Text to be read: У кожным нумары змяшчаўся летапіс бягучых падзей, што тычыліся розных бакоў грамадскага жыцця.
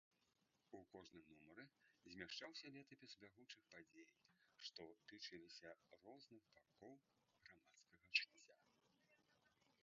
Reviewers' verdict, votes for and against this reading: rejected, 0, 2